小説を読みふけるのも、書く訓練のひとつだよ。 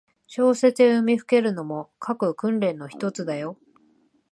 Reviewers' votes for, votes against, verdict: 2, 0, accepted